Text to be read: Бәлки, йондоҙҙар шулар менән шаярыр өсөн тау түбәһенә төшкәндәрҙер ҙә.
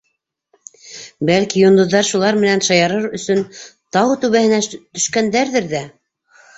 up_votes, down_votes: 1, 2